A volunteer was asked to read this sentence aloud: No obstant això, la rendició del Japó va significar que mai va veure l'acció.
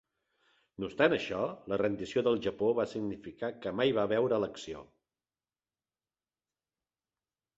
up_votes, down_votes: 2, 0